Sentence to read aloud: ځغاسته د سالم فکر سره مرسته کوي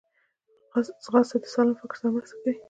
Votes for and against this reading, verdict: 1, 2, rejected